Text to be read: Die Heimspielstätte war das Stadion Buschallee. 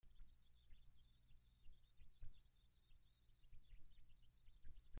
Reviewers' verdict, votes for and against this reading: rejected, 0, 2